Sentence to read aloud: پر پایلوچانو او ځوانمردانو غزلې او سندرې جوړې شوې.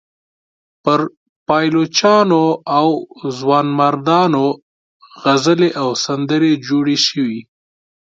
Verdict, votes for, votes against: accepted, 2, 0